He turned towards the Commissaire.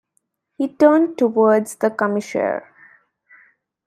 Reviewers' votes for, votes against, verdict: 2, 1, accepted